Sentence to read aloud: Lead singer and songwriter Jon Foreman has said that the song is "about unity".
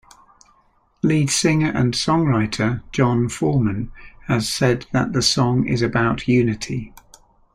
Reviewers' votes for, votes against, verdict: 2, 0, accepted